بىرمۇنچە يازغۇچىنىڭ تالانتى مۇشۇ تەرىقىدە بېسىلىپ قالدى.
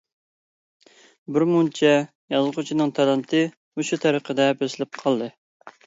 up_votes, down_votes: 2, 0